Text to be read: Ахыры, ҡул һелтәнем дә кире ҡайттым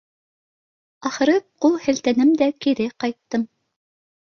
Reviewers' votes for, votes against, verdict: 2, 1, accepted